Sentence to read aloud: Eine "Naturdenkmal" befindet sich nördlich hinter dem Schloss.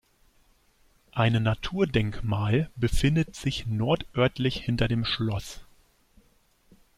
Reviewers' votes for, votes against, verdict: 0, 2, rejected